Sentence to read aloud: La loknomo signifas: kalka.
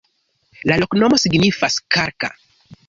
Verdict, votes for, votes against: rejected, 0, 3